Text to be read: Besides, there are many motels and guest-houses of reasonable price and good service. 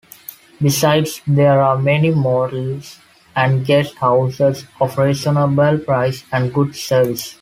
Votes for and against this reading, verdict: 2, 0, accepted